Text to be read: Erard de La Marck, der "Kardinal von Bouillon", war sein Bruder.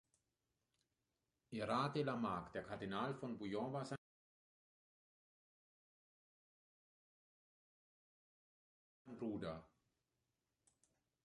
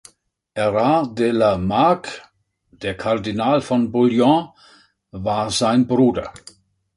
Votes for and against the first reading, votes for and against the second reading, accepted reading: 0, 2, 3, 0, second